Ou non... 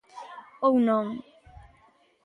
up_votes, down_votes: 2, 1